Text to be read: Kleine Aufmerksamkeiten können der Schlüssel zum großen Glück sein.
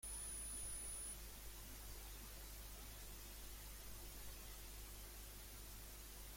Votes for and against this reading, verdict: 0, 2, rejected